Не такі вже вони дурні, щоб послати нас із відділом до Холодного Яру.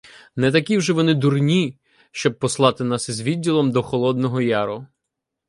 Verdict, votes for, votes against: accepted, 2, 0